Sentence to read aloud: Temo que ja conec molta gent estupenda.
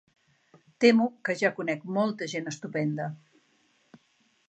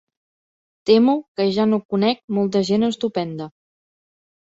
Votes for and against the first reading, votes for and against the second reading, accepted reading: 3, 0, 1, 2, first